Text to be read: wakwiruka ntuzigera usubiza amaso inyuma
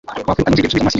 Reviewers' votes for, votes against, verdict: 0, 2, rejected